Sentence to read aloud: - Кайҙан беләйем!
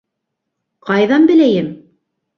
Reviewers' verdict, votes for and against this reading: rejected, 0, 2